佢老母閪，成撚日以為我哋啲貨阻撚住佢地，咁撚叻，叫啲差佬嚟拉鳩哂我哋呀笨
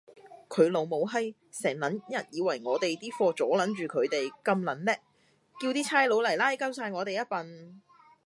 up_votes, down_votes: 2, 0